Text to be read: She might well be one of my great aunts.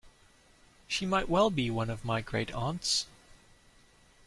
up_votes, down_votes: 2, 0